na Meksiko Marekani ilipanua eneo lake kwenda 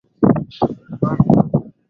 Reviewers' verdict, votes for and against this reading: rejected, 0, 2